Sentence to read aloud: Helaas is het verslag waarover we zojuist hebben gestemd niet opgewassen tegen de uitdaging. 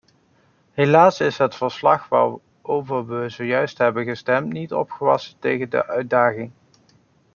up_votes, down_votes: 0, 2